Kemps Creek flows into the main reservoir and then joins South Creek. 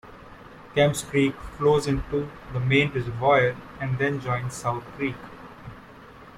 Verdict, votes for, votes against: rejected, 1, 2